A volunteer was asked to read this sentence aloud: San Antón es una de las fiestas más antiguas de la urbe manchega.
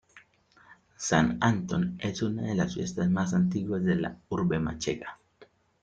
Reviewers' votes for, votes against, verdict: 2, 0, accepted